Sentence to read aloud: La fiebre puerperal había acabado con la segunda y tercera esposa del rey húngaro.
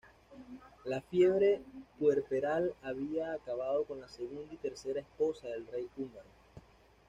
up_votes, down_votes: 2, 0